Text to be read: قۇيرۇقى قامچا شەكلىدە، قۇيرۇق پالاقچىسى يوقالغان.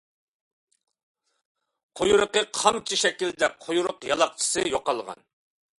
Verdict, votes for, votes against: rejected, 1, 2